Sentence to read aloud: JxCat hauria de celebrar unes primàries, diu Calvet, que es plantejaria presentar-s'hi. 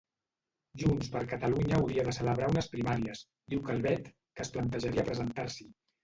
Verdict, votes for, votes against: rejected, 1, 2